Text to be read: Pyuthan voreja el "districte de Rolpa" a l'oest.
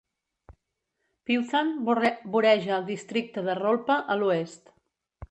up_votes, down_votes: 2, 3